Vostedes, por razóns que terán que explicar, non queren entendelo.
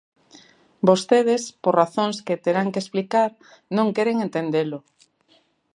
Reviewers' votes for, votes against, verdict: 3, 0, accepted